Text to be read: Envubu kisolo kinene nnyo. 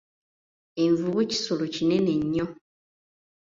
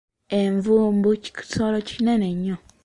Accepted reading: first